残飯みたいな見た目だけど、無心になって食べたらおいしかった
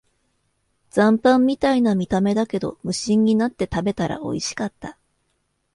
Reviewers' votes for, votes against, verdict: 2, 0, accepted